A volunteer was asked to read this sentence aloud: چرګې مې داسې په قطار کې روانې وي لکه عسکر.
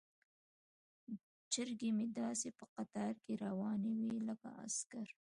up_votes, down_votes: 2, 0